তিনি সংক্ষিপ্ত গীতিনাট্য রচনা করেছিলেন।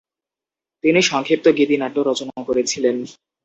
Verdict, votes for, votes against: accepted, 2, 0